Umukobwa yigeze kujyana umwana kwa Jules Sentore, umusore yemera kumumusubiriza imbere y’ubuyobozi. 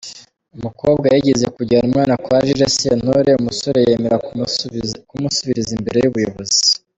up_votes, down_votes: 1, 3